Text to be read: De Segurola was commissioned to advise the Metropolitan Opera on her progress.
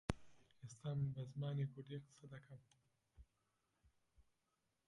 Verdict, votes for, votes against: rejected, 0, 2